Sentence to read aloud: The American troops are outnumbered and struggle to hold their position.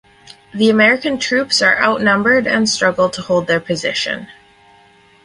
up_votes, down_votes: 4, 0